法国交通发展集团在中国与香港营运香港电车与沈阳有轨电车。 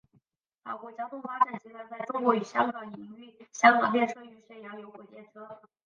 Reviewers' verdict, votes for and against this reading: rejected, 0, 5